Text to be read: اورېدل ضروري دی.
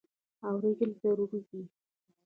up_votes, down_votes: 0, 2